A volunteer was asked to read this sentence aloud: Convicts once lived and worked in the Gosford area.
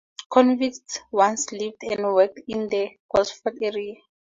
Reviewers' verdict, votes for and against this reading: rejected, 2, 2